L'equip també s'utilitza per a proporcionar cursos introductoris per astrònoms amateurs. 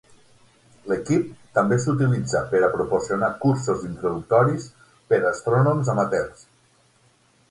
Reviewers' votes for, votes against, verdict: 6, 0, accepted